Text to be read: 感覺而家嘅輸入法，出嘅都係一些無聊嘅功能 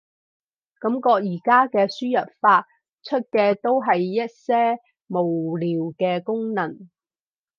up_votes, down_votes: 4, 0